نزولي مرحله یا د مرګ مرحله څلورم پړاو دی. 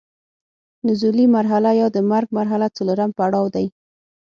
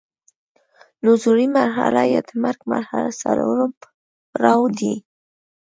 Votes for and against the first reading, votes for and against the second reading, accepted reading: 6, 0, 1, 2, first